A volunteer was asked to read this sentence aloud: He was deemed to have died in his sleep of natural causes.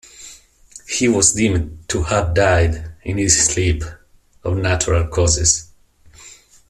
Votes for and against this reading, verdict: 2, 0, accepted